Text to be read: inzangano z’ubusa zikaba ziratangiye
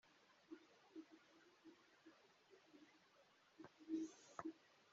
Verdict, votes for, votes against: rejected, 2, 3